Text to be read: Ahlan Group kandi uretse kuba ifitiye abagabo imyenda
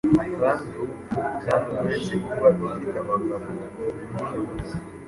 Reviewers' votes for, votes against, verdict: 1, 2, rejected